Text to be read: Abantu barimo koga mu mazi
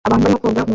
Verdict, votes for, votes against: rejected, 0, 2